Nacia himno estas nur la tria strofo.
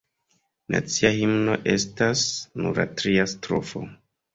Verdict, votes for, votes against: accepted, 2, 1